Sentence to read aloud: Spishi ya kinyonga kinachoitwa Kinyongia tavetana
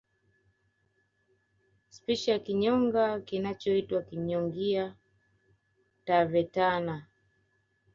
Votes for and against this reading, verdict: 2, 0, accepted